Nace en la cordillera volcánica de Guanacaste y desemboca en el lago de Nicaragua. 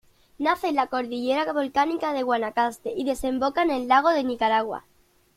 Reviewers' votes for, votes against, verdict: 1, 2, rejected